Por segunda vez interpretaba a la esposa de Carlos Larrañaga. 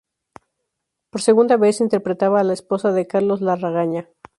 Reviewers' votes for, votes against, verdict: 2, 4, rejected